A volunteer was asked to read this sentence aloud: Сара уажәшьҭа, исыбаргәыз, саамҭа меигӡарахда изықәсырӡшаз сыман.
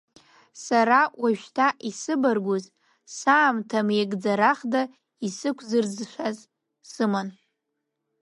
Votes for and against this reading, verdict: 2, 0, accepted